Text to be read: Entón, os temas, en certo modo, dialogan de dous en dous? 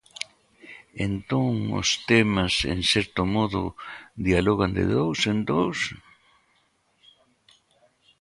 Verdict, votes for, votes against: accepted, 2, 0